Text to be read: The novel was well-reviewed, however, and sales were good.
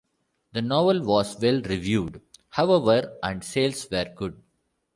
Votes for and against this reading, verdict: 2, 0, accepted